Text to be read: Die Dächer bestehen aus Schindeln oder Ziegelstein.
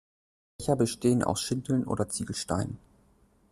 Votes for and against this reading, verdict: 1, 2, rejected